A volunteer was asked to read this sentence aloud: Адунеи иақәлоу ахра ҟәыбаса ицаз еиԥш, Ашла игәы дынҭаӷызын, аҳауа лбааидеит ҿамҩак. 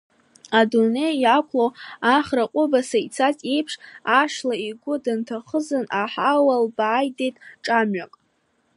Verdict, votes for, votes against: accepted, 2, 0